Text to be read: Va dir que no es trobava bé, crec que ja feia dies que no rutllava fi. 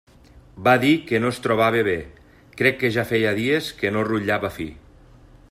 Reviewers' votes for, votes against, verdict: 3, 0, accepted